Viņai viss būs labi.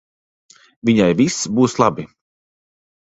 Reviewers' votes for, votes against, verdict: 2, 0, accepted